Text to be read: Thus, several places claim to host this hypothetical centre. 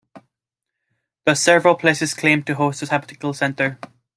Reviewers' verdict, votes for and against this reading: accepted, 2, 0